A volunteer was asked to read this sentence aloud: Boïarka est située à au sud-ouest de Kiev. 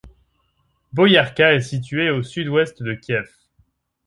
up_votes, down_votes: 1, 2